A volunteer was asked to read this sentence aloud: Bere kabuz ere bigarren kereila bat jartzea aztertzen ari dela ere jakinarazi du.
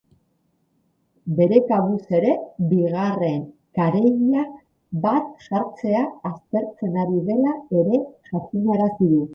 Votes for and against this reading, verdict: 2, 2, rejected